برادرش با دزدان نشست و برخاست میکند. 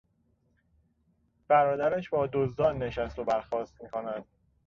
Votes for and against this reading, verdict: 2, 0, accepted